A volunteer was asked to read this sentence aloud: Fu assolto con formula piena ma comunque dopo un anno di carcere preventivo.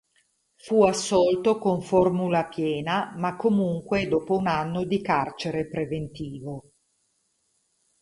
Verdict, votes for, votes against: rejected, 2, 2